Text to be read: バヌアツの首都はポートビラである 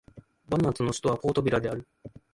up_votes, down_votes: 2, 0